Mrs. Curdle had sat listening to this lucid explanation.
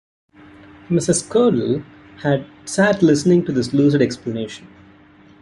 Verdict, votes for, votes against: accepted, 2, 0